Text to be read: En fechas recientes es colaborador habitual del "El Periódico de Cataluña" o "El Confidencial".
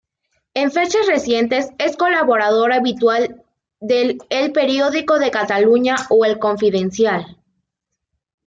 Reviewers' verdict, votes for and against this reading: accepted, 2, 1